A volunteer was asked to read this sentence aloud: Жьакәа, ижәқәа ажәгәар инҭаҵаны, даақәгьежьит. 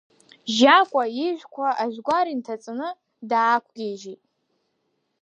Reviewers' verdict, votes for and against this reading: accepted, 2, 1